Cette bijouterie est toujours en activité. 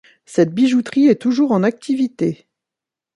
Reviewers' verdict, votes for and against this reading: accepted, 2, 0